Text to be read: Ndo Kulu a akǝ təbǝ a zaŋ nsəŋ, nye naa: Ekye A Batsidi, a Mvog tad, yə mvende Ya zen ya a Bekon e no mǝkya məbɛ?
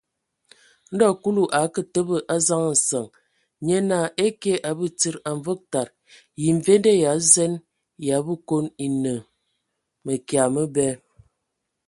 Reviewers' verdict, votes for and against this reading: accepted, 2, 0